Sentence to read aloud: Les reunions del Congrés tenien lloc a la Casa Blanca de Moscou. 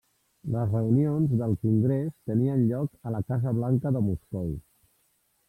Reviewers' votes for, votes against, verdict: 1, 2, rejected